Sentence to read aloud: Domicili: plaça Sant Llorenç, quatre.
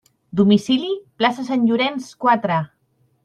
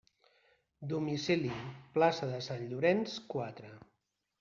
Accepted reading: first